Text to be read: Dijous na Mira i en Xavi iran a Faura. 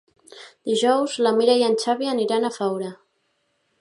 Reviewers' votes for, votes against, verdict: 2, 0, accepted